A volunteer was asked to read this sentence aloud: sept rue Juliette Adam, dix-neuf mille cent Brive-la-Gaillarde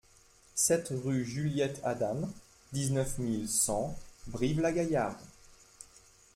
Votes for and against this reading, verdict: 2, 0, accepted